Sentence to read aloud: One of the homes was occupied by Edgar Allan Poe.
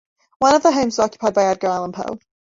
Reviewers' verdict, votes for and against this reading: rejected, 1, 2